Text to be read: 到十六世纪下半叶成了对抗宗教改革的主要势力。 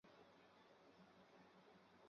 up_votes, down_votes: 0, 2